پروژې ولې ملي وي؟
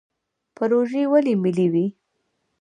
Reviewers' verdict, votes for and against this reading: accepted, 2, 0